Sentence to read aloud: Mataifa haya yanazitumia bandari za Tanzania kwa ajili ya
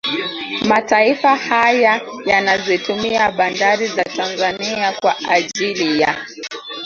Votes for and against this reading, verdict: 0, 2, rejected